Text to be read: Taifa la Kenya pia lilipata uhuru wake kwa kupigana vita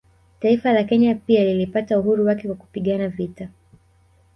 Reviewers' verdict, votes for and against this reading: rejected, 0, 2